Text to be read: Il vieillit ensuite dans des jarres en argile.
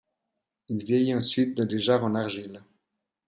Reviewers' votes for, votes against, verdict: 2, 0, accepted